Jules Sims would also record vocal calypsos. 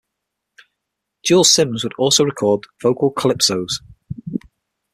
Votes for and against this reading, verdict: 6, 0, accepted